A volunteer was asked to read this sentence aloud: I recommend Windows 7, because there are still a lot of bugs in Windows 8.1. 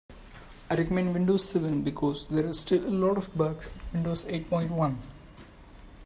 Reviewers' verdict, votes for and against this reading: rejected, 0, 2